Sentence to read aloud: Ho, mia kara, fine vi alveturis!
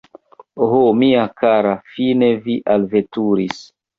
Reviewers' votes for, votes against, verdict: 1, 3, rejected